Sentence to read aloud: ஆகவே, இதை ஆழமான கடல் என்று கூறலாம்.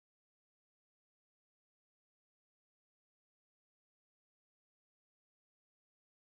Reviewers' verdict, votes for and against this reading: rejected, 0, 2